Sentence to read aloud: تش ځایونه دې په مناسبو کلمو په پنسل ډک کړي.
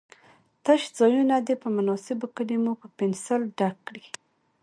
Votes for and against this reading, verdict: 2, 0, accepted